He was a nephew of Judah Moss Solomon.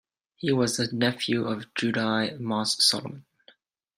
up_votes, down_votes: 0, 2